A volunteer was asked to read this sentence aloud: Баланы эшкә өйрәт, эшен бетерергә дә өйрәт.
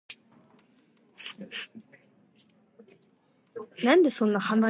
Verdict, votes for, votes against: rejected, 0, 2